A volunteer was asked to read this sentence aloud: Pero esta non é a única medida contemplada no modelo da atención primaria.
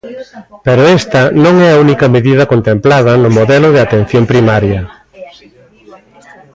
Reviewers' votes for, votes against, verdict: 1, 2, rejected